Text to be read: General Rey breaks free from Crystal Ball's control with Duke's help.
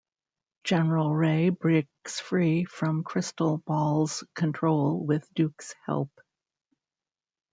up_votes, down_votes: 0, 2